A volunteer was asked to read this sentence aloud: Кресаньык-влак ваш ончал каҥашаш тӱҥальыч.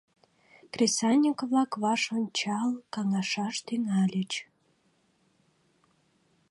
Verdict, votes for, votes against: accepted, 2, 0